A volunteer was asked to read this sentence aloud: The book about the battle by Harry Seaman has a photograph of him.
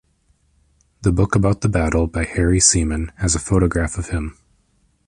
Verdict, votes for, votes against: accepted, 2, 0